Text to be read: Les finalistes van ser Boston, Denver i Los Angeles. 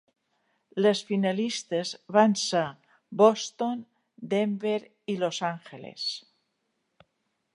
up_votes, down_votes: 0, 2